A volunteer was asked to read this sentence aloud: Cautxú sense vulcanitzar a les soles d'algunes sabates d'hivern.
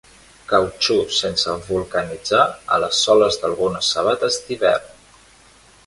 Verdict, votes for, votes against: rejected, 1, 2